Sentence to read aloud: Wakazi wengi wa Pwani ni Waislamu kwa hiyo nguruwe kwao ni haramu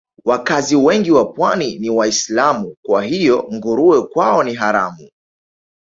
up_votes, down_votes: 7, 2